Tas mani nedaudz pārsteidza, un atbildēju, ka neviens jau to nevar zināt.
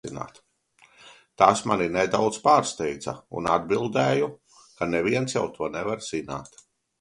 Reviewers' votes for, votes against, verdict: 2, 0, accepted